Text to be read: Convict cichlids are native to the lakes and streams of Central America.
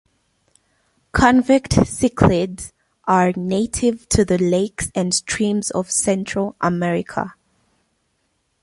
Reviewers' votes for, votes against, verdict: 1, 2, rejected